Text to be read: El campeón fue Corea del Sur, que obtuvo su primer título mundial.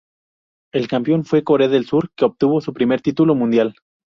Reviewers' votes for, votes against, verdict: 2, 0, accepted